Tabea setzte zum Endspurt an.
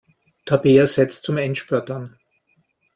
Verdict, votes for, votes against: accepted, 2, 0